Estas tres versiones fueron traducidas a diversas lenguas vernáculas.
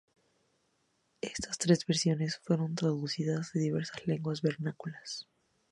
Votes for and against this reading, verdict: 2, 0, accepted